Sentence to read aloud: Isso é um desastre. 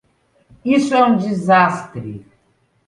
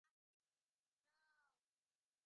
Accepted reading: first